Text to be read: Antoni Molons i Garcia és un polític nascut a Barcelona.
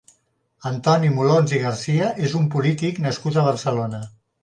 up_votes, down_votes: 3, 0